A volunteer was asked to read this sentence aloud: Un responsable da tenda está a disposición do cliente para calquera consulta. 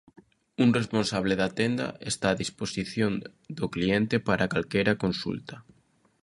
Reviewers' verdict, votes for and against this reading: accepted, 2, 0